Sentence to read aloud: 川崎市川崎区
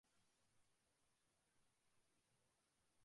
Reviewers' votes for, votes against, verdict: 0, 2, rejected